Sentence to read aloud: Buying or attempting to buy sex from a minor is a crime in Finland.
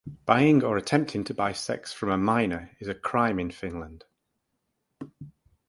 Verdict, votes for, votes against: accepted, 4, 0